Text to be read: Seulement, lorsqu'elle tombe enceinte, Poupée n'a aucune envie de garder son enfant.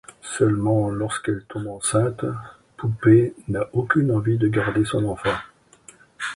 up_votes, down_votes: 2, 0